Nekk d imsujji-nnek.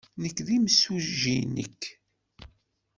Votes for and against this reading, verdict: 2, 1, accepted